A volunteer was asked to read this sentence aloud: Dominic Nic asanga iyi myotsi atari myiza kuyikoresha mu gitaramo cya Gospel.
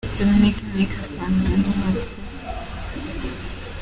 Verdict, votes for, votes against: rejected, 0, 2